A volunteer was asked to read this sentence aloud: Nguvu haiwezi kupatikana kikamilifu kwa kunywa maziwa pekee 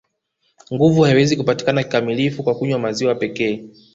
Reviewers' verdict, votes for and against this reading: accepted, 2, 1